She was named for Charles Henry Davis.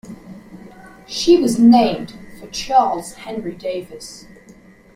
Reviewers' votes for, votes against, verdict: 2, 1, accepted